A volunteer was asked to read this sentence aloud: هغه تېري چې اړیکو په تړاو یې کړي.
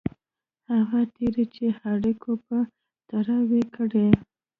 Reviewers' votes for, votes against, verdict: 0, 2, rejected